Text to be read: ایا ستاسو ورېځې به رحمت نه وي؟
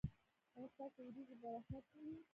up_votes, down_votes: 1, 2